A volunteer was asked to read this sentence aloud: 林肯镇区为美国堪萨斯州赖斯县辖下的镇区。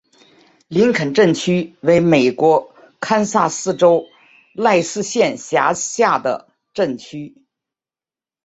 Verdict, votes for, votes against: accepted, 3, 0